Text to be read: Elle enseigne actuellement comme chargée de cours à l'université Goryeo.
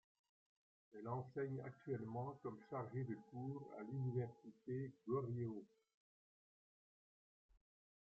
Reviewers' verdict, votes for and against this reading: rejected, 0, 2